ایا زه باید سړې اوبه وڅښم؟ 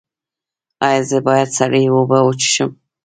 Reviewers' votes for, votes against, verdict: 0, 2, rejected